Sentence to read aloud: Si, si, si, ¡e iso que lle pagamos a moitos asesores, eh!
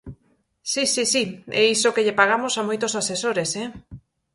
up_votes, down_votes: 4, 0